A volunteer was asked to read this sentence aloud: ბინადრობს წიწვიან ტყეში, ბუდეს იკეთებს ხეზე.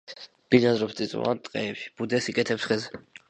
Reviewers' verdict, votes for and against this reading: rejected, 1, 2